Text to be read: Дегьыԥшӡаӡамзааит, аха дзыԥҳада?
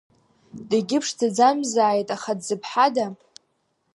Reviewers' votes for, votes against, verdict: 2, 0, accepted